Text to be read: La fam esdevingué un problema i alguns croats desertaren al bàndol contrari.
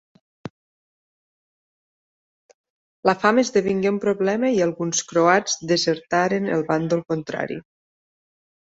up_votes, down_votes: 2, 4